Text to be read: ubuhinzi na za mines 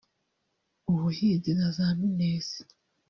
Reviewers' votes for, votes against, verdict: 2, 0, accepted